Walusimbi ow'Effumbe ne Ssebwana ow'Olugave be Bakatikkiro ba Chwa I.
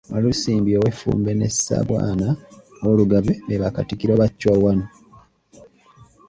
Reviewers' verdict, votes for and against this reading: rejected, 0, 2